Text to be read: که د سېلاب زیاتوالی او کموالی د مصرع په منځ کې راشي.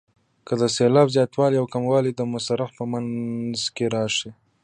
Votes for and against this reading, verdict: 0, 2, rejected